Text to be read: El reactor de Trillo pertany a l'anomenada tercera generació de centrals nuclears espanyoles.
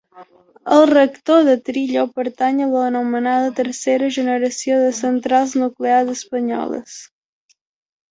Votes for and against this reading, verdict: 2, 0, accepted